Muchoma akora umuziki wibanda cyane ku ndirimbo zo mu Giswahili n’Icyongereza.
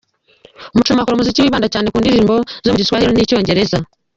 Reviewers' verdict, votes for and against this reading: rejected, 1, 2